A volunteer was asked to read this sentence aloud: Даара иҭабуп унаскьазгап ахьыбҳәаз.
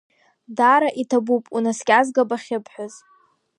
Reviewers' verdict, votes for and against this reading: accepted, 2, 0